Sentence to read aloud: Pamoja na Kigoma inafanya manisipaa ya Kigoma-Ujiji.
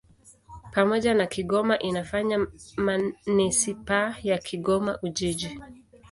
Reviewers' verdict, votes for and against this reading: accepted, 2, 1